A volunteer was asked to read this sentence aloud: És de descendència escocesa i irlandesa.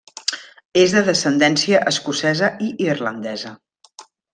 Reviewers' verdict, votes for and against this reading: accepted, 3, 0